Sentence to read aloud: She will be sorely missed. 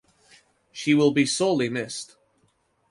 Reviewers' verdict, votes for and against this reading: accepted, 2, 0